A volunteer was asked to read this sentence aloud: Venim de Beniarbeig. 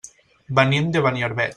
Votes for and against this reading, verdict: 1, 2, rejected